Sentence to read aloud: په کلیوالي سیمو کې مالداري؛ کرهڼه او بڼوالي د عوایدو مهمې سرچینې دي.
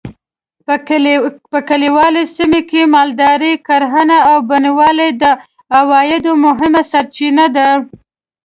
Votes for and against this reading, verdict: 1, 2, rejected